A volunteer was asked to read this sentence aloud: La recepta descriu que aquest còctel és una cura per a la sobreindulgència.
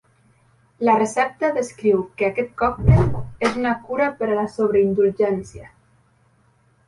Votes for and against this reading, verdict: 2, 0, accepted